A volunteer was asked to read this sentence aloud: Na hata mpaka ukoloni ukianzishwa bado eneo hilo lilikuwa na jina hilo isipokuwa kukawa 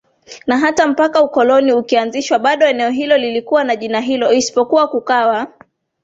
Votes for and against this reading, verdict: 2, 0, accepted